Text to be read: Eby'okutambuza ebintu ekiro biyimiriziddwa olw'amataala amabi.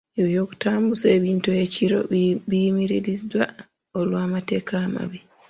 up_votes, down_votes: 2, 0